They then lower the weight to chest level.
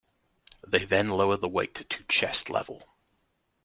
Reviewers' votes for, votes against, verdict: 2, 1, accepted